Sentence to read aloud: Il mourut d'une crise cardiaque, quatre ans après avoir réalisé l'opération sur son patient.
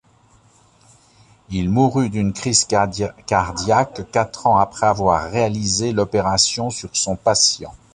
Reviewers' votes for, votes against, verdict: 1, 2, rejected